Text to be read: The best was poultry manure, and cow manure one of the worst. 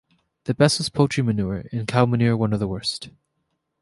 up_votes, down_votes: 2, 0